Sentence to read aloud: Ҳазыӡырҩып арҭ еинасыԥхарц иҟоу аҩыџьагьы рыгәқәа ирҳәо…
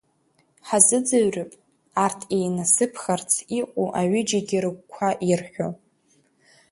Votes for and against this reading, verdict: 4, 1, accepted